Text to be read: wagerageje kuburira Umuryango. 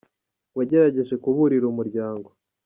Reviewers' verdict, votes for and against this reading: accepted, 2, 1